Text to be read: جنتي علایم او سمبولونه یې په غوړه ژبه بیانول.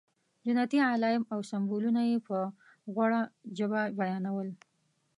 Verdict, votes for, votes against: accepted, 2, 0